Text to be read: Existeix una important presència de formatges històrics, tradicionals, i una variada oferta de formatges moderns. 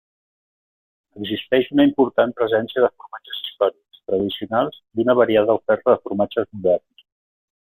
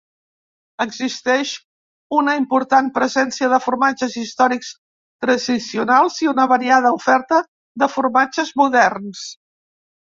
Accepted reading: first